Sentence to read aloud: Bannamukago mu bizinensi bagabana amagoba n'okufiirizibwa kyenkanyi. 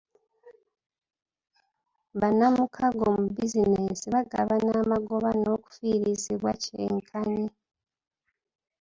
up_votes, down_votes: 1, 2